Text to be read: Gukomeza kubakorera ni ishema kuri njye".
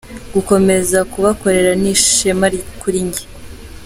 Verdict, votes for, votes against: accepted, 2, 1